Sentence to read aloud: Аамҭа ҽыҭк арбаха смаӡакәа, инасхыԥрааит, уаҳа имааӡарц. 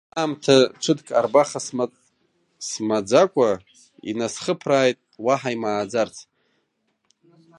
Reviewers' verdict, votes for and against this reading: rejected, 1, 2